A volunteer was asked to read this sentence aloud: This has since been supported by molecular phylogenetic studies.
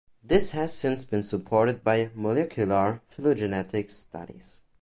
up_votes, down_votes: 2, 0